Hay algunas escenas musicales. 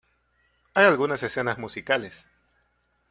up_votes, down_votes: 2, 1